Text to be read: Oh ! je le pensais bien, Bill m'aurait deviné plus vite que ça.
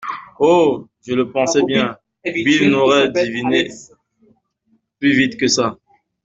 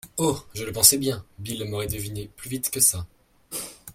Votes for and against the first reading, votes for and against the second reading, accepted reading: 1, 2, 2, 0, second